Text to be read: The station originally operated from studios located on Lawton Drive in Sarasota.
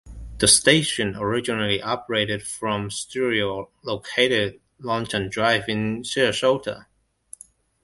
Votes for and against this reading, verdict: 0, 2, rejected